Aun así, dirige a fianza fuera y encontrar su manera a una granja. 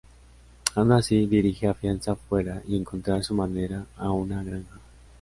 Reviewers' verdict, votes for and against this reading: accepted, 2, 0